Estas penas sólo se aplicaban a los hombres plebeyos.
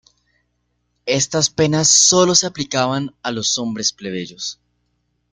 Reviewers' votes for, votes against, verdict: 2, 0, accepted